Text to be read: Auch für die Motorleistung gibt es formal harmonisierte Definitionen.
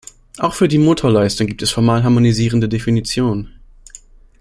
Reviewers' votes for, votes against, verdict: 0, 2, rejected